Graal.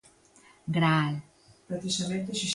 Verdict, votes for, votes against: rejected, 0, 2